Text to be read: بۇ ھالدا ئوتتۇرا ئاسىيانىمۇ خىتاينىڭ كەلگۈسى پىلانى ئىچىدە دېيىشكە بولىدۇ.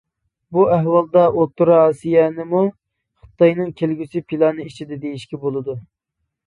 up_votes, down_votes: 0, 2